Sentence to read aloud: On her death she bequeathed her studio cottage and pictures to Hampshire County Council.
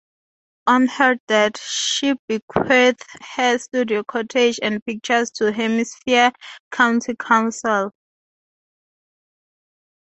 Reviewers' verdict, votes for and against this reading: rejected, 2, 4